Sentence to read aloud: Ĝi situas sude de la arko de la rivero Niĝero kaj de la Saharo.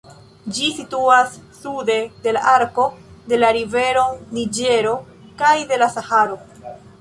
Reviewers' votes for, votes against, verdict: 2, 0, accepted